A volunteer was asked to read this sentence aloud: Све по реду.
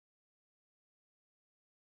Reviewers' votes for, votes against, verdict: 0, 2, rejected